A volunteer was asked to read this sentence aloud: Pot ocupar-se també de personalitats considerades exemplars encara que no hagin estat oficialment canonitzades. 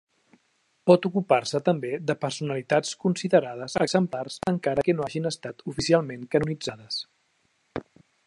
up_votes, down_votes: 3, 0